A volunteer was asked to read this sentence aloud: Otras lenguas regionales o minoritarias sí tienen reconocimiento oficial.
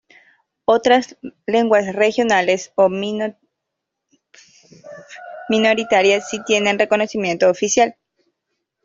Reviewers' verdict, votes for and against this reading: rejected, 0, 2